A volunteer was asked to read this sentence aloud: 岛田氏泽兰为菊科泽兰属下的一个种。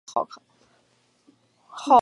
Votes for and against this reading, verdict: 0, 2, rejected